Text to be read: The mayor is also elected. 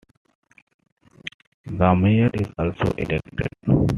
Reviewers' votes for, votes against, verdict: 2, 0, accepted